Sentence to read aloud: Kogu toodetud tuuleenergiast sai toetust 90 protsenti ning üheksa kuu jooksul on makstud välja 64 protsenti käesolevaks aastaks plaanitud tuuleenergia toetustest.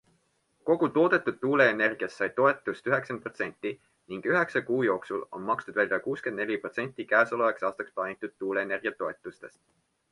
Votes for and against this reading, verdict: 0, 2, rejected